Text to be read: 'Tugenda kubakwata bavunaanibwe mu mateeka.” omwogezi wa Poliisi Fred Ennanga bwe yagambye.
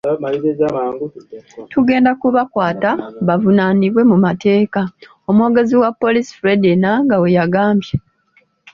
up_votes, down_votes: 2, 1